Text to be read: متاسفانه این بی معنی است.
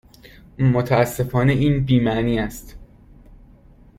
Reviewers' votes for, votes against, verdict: 2, 0, accepted